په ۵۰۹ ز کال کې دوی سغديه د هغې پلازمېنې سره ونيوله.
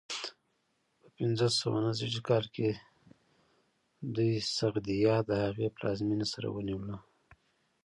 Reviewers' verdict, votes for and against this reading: rejected, 0, 2